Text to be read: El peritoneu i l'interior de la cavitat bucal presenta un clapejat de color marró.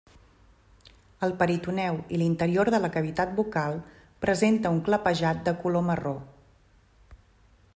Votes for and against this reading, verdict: 3, 0, accepted